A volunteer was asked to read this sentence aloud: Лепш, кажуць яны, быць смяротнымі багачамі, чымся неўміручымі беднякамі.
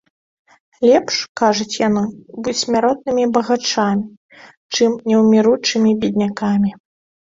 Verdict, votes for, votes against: rejected, 0, 2